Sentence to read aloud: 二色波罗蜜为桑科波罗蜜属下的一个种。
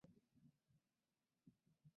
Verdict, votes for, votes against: rejected, 0, 5